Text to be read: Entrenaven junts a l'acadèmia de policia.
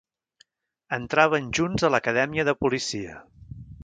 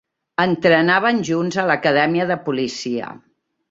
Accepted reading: second